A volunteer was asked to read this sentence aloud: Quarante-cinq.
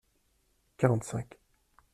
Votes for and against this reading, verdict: 2, 0, accepted